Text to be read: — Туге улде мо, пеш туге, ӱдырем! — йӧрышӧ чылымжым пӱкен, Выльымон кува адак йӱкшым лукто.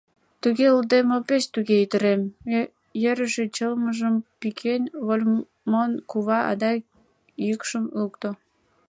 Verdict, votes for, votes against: rejected, 1, 2